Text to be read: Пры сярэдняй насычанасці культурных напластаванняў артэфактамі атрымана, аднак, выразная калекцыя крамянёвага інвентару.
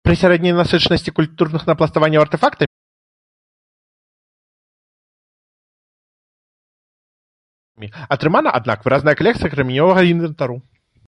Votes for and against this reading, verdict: 0, 2, rejected